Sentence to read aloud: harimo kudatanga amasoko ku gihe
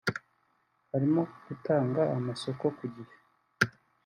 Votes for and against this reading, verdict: 1, 2, rejected